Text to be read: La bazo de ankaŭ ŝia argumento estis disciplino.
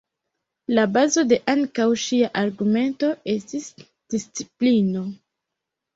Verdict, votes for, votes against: rejected, 0, 2